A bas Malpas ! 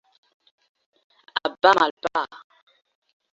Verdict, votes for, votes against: rejected, 1, 2